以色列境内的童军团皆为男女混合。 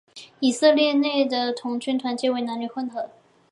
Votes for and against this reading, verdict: 1, 2, rejected